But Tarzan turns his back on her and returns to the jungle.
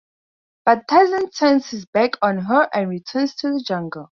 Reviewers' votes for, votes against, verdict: 4, 0, accepted